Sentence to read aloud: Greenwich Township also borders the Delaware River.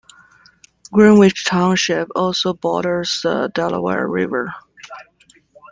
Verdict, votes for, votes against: accepted, 2, 0